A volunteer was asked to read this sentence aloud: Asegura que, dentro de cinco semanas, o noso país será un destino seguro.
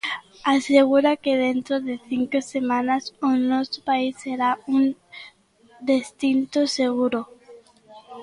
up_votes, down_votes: 0, 2